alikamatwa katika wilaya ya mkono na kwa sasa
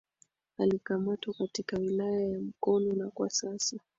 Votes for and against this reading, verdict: 2, 0, accepted